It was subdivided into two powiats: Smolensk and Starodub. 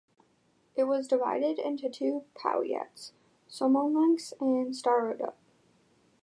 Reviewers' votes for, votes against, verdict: 1, 2, rejected